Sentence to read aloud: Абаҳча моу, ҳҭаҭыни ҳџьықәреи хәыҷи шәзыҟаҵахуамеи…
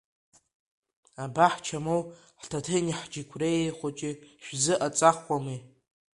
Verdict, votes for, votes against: rejected, 1, 2